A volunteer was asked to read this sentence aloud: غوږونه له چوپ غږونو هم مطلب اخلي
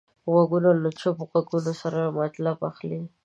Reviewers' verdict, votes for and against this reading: rejected, 0, 2